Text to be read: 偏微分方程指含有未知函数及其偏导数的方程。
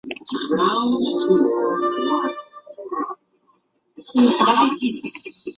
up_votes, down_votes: 1, 2